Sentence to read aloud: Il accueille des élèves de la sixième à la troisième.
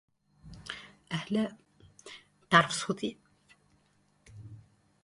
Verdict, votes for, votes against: rejected, 0, 2